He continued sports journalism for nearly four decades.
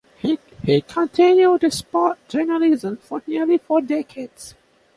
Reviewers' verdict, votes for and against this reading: accepted, 2, 1